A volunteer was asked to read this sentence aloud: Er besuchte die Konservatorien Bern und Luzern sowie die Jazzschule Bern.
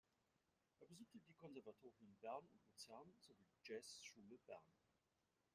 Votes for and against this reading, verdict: 1, 2, rejected